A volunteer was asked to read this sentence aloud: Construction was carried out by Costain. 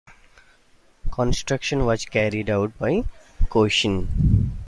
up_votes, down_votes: 2, 0